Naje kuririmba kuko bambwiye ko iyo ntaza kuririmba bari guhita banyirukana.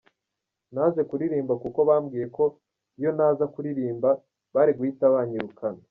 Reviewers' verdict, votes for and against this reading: accepted, 2, 1